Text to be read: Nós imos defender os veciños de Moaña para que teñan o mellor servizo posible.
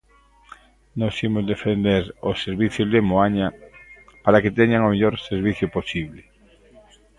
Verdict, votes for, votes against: rejected, 0, 2